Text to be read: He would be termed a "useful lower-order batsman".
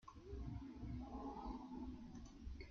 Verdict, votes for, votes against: rejected, 0, 2